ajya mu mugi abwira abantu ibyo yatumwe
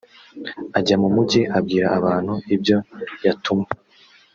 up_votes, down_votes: 2, 0